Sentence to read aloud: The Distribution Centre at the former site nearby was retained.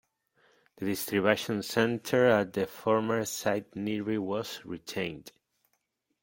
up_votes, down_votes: 1, 2